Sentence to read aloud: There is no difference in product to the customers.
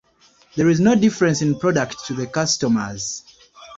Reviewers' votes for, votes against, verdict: 1, 2, rejected